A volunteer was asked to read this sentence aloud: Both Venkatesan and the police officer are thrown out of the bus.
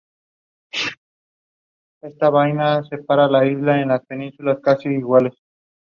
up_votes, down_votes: 0, 2